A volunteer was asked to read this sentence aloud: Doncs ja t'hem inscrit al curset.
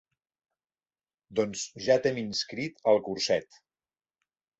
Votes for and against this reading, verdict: 2, 0, accepted